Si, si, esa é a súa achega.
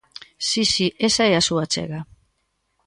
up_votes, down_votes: 2, 0